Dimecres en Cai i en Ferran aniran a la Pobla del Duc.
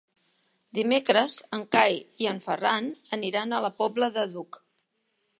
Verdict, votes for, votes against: rejected, 1, 2